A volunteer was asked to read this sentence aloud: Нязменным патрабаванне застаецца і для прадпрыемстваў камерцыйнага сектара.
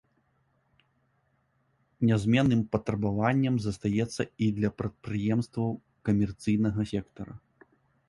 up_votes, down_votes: 1, 2